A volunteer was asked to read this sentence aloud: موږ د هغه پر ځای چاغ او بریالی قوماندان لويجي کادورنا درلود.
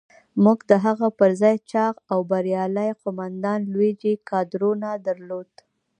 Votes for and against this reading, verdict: 1, 2, rejected